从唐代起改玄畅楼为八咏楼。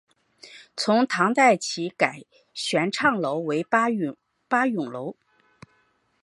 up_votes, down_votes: 0, 3